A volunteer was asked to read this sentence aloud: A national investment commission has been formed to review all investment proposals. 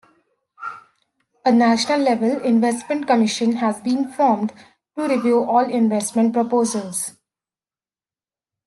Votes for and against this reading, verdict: 2, 0, accepted